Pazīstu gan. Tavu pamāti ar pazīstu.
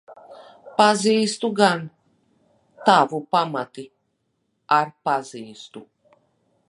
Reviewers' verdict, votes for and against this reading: rejected, 1, 2